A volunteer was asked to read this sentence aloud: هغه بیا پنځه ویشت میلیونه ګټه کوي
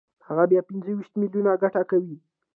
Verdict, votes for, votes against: accepted, 2, 0